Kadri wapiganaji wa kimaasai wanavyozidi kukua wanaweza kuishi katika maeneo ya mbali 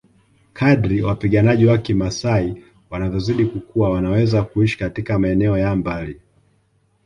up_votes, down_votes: 2, 0